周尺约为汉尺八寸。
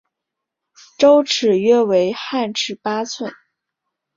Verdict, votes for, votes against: accepted, 3, 0